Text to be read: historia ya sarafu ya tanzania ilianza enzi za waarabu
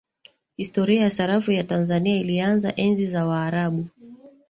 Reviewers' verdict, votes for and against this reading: rejected, 1, 2